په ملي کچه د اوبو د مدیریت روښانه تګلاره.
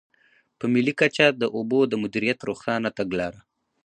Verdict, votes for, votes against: rejected, 2, 2